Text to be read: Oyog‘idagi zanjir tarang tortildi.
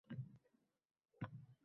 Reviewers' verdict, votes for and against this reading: rejected, 0, 2